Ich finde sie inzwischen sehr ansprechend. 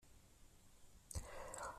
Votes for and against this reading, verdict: 0, 2, rejected